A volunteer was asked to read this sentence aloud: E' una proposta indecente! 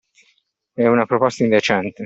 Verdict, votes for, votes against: accepted, 2, 0